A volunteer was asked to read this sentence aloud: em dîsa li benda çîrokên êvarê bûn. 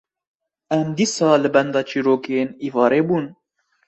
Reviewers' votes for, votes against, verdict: 0, 2, rejected